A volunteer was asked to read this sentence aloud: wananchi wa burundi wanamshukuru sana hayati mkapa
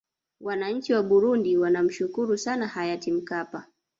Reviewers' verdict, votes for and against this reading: rejected, 0, 2